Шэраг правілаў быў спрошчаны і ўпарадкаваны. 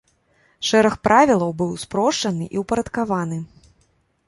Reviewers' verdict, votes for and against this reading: accepted, 2, 0